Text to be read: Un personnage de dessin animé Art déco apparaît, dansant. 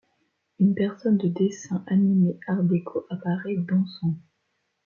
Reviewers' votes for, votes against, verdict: 1, 2, rejected